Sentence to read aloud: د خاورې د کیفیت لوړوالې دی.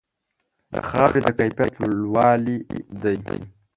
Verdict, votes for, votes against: rejected, 0, 2